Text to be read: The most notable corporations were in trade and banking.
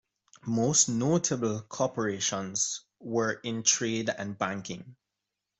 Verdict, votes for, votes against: accepted, 2, 1